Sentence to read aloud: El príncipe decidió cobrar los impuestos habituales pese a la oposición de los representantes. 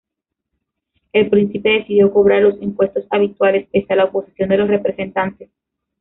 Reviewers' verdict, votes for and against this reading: accepted, 2, 1